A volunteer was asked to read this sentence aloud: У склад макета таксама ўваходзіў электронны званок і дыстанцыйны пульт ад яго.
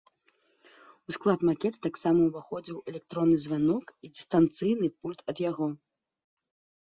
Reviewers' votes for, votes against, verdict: 2, 0, accepted